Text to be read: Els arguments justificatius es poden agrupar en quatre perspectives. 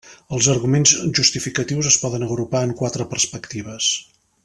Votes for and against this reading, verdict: 3, 0, accepted